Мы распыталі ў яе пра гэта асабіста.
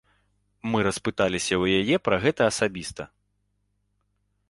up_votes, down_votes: 0, 2